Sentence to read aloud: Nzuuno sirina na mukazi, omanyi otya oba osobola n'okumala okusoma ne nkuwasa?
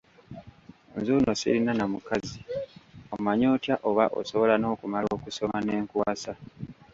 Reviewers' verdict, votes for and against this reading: accepted, 2, 1